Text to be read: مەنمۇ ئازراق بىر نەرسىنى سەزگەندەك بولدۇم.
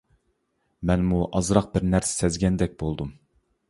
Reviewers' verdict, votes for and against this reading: rejected, 0, 2